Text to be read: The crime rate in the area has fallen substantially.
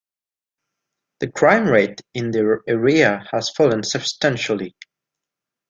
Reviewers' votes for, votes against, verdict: 1, 2, rejected